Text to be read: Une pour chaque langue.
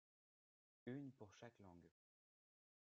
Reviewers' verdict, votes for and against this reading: rejected, 2, 3